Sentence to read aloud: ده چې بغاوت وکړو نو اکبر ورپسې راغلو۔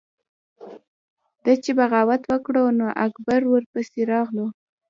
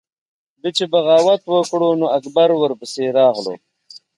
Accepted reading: second